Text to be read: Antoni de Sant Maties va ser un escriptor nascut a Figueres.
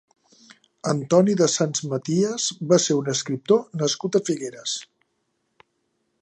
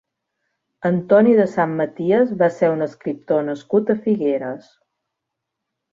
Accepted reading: second